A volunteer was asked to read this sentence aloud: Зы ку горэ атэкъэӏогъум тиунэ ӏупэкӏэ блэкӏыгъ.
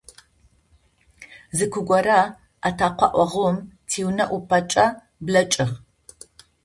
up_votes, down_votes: 2, 0